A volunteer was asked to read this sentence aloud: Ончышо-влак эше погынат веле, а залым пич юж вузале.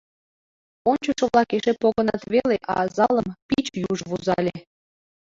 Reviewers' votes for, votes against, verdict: 0, 3, rejected